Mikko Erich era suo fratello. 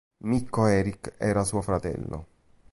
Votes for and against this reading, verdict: 2, 0, accepted